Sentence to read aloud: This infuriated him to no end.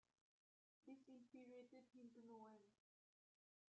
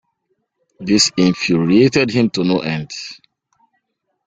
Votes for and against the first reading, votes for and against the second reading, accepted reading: 0, 2, 2, 0, second